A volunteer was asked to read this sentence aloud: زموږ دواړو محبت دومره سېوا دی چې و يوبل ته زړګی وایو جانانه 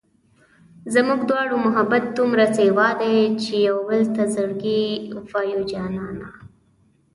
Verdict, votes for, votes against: accepted, 2, 0